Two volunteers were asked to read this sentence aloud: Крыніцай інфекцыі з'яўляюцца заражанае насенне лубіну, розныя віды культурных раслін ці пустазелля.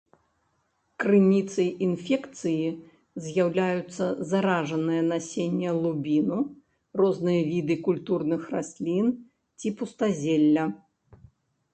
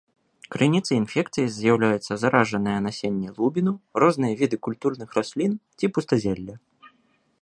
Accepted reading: second